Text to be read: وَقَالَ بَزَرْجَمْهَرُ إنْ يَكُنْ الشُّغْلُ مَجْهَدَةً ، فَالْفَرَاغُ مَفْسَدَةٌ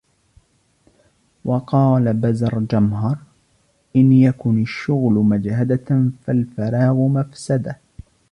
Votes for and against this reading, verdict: 0, 2, rejected